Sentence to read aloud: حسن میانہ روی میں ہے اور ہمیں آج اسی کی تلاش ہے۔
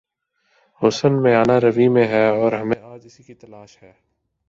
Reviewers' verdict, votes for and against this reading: accepted, 2, 1